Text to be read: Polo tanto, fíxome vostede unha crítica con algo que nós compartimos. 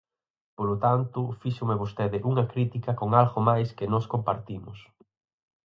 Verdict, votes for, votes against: rejected, 0, 4